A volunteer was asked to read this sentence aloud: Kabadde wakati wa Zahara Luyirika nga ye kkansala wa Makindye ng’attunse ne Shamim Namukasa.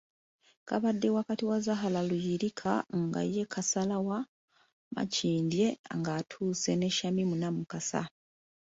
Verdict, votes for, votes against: rejected, 0, 2